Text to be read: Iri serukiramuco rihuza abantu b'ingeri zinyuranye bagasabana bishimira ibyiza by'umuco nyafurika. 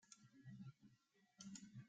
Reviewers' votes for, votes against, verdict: 0, 4, rejected